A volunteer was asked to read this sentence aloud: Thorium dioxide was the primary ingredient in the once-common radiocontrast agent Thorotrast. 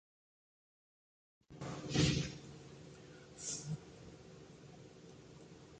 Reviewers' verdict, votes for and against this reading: rejected, 0, 2